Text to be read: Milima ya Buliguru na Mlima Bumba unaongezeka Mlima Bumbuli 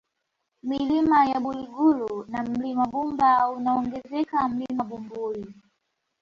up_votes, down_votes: 2, 0